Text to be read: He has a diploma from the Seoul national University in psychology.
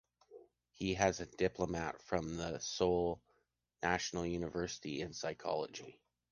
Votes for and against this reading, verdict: 1, 2, rejected